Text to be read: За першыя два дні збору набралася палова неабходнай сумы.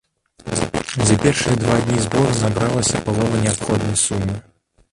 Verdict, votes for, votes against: rejected, 0, 2